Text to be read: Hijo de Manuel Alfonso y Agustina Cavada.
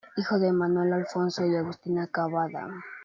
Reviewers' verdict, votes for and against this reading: accepted, 3, 0